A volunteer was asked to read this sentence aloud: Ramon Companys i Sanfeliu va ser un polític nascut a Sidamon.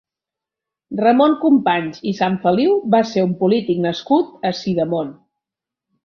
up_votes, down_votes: 2, 0